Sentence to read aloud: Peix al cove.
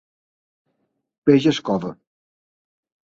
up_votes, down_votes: 0, 2